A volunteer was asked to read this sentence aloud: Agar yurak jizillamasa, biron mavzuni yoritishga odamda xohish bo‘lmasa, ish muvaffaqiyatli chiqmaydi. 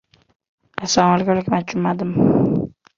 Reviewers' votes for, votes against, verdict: 0, 2, rejected